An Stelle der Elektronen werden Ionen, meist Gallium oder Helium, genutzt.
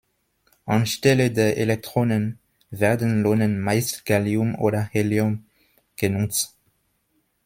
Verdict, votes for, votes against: rejected, 1, 2